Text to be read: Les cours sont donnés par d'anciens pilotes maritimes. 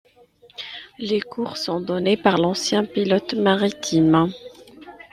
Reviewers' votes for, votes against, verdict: 2, 0, accepted